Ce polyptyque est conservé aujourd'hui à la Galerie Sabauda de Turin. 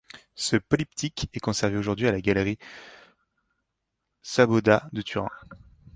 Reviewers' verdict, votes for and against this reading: rejected, 1, 2